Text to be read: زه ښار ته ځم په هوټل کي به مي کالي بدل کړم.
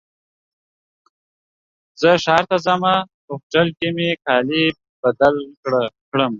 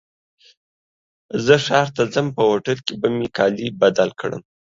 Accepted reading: second